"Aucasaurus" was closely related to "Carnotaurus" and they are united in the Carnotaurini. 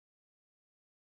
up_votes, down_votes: 0, 2